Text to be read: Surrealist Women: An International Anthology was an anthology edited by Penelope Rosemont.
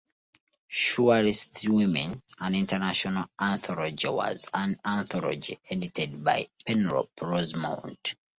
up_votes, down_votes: 2, 1